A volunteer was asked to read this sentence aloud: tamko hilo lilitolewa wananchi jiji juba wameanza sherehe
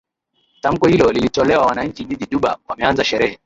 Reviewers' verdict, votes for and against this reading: rejected, 1, 2